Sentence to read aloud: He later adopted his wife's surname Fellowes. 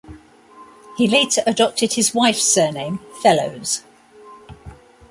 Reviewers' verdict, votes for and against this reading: accepted, 2, 0